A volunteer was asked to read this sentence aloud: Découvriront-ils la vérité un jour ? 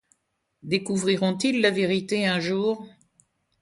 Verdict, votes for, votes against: accepted, 2, 1